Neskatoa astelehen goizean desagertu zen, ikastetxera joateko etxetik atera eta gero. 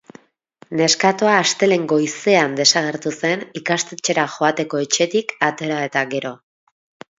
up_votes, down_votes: 4, 0